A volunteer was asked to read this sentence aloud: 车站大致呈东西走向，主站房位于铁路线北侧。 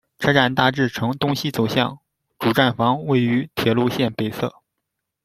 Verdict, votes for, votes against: accepted, 2, 0